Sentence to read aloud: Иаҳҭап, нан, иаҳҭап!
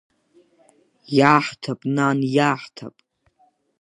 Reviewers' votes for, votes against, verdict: 2, 0, accepted